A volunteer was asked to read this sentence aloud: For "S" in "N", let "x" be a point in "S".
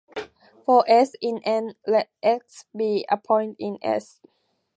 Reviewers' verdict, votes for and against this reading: accepted, 2, 0